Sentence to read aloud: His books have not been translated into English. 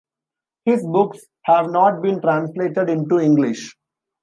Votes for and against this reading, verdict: 2, 0, accepted